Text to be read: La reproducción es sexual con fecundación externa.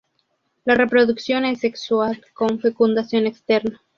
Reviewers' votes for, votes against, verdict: 6, 0, accepted